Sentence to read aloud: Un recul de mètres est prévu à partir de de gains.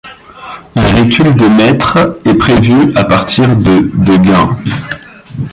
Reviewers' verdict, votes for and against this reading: accepted, 2, 0